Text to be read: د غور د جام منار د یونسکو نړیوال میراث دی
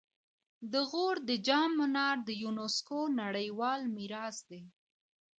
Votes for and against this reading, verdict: 2, 0, accepted